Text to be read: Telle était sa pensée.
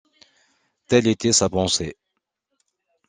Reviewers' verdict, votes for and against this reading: accepted, 2, 0